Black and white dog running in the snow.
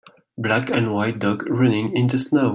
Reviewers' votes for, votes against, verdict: 2, 0, accepted